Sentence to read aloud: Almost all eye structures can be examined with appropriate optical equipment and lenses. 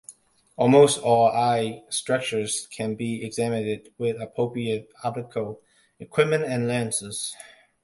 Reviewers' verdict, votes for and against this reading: rejected, 0, 2